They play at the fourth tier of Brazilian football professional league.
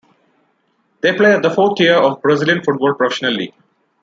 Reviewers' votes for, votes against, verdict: 0, 2, rejected